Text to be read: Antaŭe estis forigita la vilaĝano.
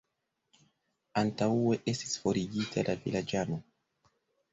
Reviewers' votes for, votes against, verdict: 0, 2, rejected